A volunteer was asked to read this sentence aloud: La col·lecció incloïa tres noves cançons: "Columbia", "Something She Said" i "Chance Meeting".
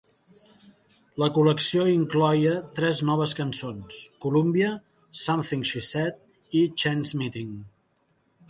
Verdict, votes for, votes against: rejected, 1, 2